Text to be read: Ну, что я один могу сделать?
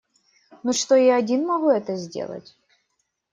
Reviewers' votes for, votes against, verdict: 1, 2, rejected